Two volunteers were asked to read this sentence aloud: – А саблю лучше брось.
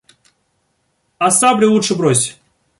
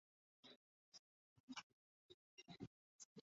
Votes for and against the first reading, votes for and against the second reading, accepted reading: 2, 0, 0, 2, first